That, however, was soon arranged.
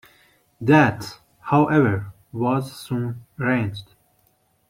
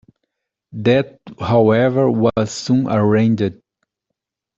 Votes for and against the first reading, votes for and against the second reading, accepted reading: 2, 1, 1, 2, first